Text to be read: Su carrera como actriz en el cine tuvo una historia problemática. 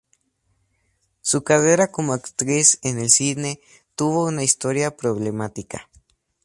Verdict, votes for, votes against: accepted, 2, 0